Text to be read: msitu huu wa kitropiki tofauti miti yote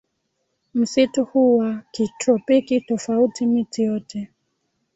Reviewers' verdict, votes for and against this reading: rejected, 1, 2